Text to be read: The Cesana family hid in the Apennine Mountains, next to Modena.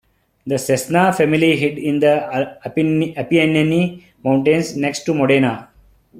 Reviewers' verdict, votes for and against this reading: rejected, 0, 2